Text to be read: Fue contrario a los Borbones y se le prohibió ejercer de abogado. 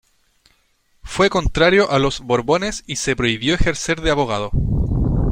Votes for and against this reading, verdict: 0, 2, rejected